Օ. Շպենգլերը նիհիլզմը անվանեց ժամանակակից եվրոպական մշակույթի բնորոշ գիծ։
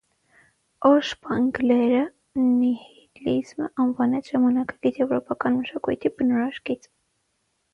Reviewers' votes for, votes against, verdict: 0, 6, rejected